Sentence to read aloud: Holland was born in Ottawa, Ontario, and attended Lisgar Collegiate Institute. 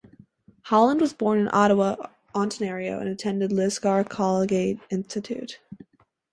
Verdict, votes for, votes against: rejected, 0, 4